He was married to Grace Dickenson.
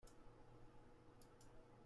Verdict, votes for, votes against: rejected, 0, 2